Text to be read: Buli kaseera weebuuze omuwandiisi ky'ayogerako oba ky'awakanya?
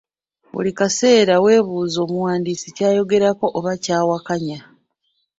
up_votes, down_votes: 3, 0